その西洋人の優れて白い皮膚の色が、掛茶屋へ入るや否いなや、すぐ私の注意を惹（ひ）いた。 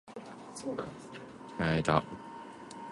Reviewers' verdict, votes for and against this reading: rejected, 0, 2